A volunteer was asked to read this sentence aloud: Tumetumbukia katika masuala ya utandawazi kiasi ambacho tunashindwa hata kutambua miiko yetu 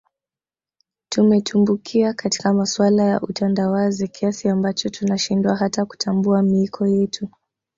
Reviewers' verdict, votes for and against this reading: accepted, 2, 0